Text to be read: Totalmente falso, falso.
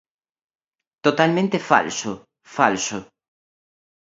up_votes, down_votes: 2, 0